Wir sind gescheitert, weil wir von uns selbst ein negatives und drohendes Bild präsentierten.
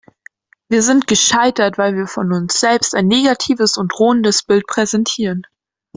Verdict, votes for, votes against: rejected, 1, 2